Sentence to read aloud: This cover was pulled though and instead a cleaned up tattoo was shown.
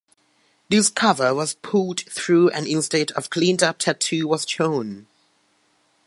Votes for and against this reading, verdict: 0, 2, rejected